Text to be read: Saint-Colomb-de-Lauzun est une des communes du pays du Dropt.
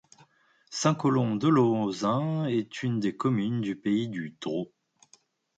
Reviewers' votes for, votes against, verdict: 0, 2, rejected